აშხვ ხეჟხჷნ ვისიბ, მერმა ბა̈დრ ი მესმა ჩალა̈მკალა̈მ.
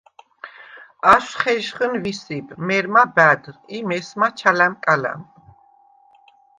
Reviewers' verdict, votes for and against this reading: accepted, 2, 0